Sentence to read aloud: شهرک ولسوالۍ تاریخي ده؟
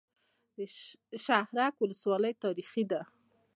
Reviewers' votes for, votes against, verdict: 2, 0, accepted